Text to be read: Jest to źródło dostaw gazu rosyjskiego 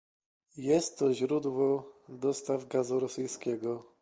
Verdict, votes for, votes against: accepted, 2, 0